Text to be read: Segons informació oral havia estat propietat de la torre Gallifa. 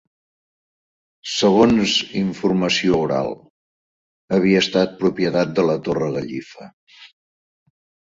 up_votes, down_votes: 0, 2